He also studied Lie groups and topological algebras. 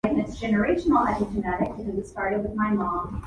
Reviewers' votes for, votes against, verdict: 0, 2, rejected